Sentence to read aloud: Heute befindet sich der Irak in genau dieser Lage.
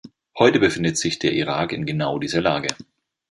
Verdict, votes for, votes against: accepted, 2, 0